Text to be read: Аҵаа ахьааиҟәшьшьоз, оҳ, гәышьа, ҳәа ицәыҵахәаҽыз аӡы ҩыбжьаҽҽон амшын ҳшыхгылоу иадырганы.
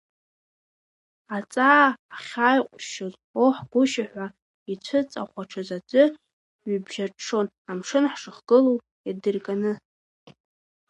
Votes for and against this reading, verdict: 0, 2, rejected